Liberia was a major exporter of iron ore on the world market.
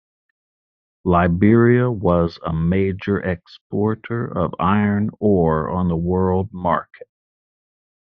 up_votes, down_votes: 2, 0